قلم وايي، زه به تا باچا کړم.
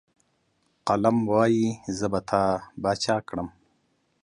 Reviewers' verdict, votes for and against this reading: accepted, 2, 0